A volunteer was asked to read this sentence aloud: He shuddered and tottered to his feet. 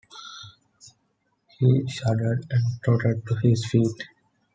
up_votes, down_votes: 2, 0